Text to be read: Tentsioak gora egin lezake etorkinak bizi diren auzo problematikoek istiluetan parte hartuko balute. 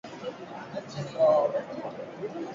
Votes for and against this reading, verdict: 0, 6, rejected